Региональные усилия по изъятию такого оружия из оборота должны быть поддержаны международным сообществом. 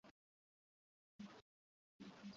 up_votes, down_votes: 0, 2